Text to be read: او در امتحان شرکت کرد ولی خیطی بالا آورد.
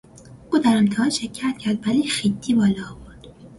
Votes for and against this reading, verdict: 2, 1, accepted